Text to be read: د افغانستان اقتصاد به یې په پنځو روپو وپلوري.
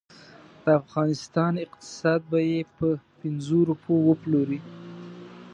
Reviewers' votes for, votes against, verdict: 2, 0, accepted